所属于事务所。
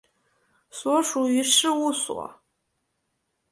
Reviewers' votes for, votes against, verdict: 2, 0, accepted